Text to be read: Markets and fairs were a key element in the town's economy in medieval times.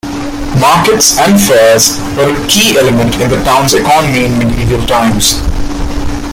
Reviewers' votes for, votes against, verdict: 2, 0, accepted